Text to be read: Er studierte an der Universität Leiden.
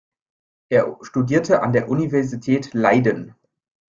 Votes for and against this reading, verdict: 3, 0, accepted